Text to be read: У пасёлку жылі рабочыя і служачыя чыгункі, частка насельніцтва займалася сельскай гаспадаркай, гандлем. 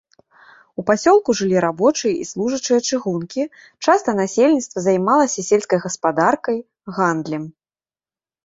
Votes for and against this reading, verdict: 1, 2, rejected